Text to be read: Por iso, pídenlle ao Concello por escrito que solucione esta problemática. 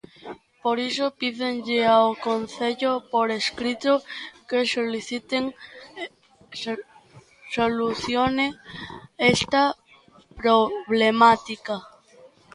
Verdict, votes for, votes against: rejected, 0, 2